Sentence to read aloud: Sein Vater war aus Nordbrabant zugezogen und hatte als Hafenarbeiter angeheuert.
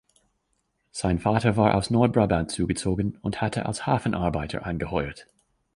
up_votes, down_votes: 2, 0